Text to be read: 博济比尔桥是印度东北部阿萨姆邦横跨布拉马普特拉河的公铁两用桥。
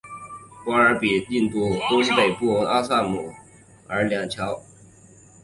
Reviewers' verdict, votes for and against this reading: accepted, 3, 1